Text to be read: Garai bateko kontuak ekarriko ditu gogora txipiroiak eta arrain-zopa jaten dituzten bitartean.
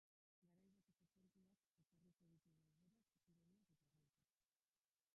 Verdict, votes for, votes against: rejected, 0, 2